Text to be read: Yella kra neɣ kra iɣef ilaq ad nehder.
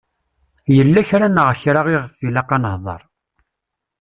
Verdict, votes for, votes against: accepted, 2, 0